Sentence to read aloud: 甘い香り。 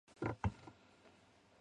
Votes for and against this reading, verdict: 0, 2, rejected